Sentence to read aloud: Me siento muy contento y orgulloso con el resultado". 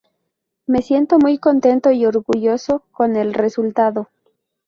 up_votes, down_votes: 2, 0